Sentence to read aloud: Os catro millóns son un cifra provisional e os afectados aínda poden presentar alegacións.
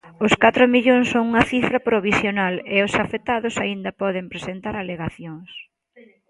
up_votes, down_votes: 2, 0